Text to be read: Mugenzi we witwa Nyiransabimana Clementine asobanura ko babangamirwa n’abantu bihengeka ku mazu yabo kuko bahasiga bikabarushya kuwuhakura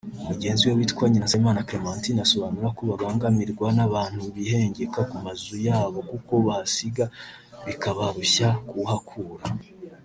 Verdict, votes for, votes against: rejected, 1, 2